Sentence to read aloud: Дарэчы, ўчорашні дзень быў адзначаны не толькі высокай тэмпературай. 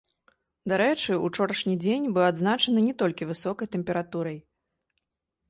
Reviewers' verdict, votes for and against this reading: accepted, 2, 0